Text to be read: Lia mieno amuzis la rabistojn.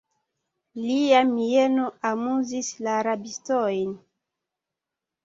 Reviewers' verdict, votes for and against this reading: rejected, 1, 2